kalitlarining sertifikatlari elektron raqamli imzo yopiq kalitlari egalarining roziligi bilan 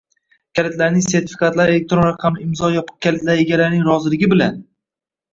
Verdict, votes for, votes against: rejected, 1, 2